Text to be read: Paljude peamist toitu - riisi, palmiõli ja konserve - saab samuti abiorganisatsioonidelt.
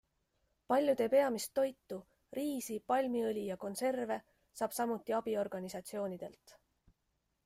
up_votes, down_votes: 2, 0